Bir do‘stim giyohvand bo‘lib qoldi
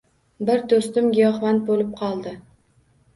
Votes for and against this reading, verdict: 2, 0, accepted